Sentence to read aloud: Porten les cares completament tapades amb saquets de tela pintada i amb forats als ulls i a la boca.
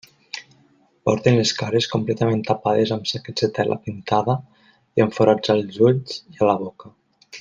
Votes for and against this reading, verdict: 2, 0, accepted